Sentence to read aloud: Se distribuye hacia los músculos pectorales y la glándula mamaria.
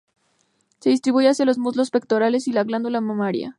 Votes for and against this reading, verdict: 0, 2, rejected